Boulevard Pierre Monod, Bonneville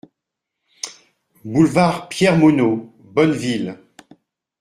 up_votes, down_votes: 2, 0